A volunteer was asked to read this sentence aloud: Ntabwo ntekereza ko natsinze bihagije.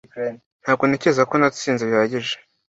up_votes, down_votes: 2, 1